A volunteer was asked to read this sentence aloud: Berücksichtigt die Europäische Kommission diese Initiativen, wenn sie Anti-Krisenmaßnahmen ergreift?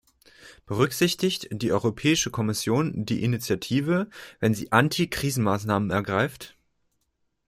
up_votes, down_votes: 1, 2